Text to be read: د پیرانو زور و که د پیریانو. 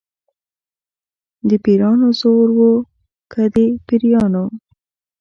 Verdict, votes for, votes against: accepted, 2, 0